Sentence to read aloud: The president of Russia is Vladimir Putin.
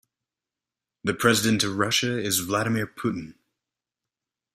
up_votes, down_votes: 2, 0